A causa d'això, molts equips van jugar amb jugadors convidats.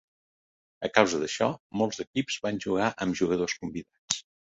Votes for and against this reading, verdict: 3, 0, accepted